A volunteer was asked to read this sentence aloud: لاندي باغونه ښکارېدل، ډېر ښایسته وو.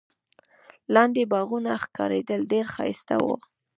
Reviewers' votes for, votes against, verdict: 1, 2, rejected